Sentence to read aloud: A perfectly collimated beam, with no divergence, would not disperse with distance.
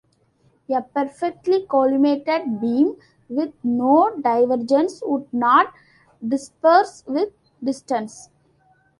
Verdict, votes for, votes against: accepted, 2, 1